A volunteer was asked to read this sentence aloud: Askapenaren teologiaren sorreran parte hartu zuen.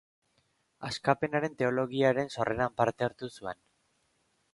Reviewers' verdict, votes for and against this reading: accepted, 3, 0